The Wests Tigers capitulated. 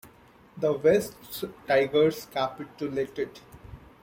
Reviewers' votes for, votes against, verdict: 2, 0, accepted